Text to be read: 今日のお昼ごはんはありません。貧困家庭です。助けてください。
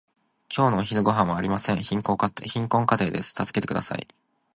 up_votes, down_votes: 0, 2